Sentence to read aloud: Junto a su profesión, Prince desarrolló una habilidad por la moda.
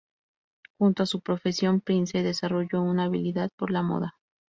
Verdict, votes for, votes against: accepted, 2, 0